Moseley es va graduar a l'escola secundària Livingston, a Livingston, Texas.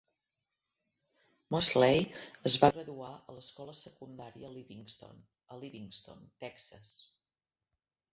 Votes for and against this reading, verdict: 0, 2, rejected